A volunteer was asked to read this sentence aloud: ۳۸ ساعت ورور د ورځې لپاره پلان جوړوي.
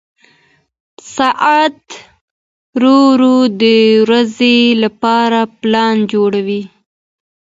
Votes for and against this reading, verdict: 0, 2, rejected